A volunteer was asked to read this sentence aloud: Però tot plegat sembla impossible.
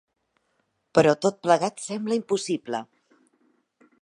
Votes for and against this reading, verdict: 3, 0, accepted